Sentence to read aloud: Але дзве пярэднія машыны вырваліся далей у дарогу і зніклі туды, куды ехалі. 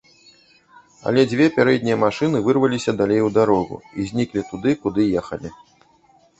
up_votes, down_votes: 0, 2